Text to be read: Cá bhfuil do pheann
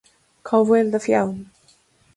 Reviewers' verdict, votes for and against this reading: accepted, 2, 0